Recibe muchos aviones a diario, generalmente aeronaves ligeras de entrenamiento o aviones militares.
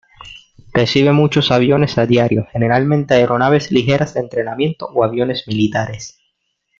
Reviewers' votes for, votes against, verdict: 0, 2, rejected